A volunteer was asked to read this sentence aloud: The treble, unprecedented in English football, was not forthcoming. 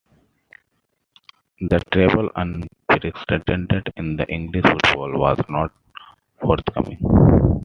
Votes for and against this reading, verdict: 0, 2, rejected